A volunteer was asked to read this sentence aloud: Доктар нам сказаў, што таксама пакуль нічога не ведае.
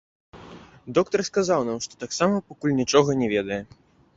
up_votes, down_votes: 1, 2